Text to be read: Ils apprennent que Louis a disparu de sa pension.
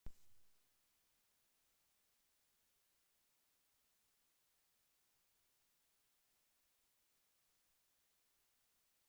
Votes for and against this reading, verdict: 0, 2, rejected